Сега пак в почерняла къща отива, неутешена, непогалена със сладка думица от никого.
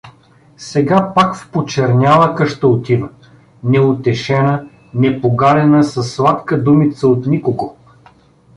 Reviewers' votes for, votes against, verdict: 0, 2, rejected